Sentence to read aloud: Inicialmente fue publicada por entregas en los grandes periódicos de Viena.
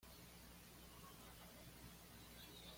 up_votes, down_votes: 1, 2